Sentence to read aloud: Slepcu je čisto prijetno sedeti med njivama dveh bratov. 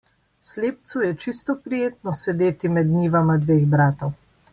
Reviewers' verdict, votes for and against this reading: accepted, 2, 0